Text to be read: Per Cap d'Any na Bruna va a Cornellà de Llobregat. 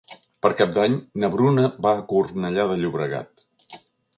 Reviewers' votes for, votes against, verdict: 4, 0, accepted